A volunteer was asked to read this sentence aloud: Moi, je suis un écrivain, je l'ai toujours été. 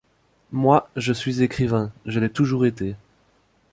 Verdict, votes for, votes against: rejected, 0, 2